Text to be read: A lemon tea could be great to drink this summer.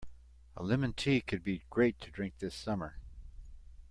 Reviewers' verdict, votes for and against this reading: accepted, 2, 1